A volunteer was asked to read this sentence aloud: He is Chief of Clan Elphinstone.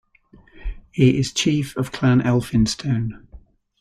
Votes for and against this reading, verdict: 2, 0, accepted